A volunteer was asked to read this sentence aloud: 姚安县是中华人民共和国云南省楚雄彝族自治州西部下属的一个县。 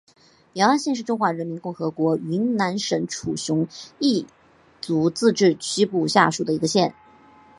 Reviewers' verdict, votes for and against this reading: accepted, 2, 0